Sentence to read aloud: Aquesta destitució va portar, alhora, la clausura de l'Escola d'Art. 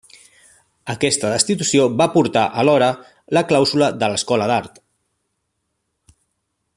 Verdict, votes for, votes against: rejected, 1, 2